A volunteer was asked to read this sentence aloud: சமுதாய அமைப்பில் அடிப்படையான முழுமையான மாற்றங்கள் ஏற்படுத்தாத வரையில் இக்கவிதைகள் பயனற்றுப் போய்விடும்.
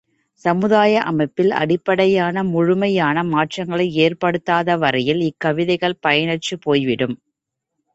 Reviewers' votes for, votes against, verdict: 2, 3, rejected